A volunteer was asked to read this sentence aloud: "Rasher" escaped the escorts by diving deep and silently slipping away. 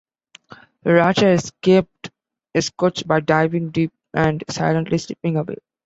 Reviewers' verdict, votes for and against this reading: rejected, 0, 2